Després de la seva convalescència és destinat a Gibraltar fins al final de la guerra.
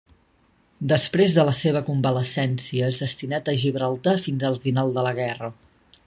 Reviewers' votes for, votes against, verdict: 3, 0, accepted